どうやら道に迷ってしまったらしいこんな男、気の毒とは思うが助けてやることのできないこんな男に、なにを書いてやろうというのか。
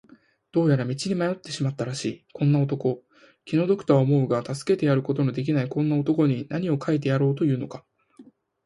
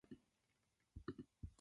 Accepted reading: first